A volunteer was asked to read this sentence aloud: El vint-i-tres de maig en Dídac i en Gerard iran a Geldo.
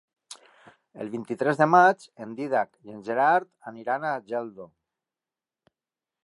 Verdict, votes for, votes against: rejected, 0, 2